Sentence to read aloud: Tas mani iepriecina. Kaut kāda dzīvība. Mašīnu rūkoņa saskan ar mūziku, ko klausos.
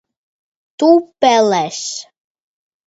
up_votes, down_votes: 0, 2